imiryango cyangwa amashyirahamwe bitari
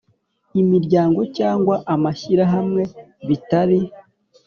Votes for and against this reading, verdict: 3, 0, accepted